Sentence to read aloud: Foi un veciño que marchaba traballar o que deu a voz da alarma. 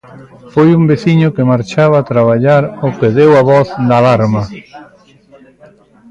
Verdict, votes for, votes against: rejected, 0, 2